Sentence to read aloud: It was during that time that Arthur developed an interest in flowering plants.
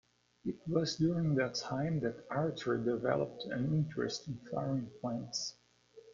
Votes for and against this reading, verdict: 1, 2, rejected